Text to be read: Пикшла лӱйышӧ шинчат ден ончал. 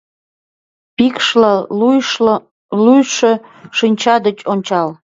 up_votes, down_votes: 0, 2